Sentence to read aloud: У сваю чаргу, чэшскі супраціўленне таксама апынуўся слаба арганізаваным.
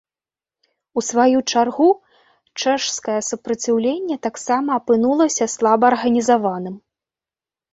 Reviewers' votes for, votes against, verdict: 0, 2, rejected